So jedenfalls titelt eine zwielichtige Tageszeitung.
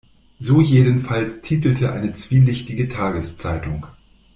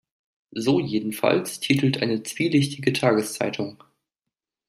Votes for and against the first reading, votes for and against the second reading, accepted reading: 0, 2, 2, 0, second